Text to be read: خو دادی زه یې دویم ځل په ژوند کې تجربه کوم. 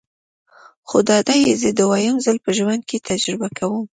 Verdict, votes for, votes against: accepted, 3, 0